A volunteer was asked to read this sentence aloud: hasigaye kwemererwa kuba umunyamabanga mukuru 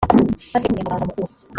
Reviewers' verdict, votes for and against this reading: rejected, 1, 2